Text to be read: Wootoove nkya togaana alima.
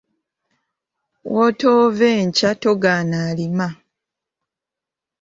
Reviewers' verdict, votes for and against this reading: accepted, 3, 0